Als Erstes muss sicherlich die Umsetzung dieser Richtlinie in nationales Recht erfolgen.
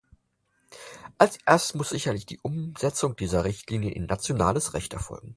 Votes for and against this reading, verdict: 2, 4, rejected